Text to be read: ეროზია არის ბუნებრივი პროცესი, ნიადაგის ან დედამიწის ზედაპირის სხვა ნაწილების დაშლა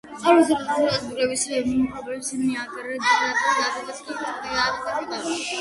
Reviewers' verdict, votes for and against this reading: rejected, 0, 2